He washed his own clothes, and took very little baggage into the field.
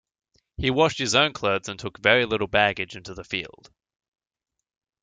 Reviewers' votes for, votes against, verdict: 2, 0, accepted